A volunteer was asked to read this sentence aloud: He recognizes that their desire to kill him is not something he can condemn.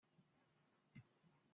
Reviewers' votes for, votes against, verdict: 0, 2, rejected